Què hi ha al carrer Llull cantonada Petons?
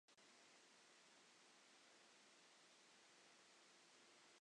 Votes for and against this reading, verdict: 0, 2, rejected